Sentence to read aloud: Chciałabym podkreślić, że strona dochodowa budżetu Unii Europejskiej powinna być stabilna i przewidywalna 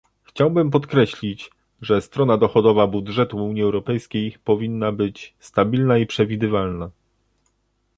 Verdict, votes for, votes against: rejected, 1, 2